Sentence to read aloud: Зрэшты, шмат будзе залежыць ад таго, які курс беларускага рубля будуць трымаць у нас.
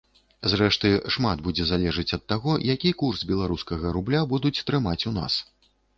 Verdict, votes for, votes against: accepted, 2, 0